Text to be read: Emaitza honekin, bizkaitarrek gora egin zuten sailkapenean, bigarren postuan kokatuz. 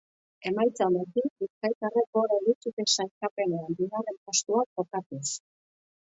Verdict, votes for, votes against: rejected, 1, 2